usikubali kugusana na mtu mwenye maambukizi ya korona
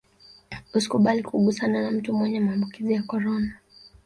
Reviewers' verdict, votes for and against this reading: accepted, 2, 0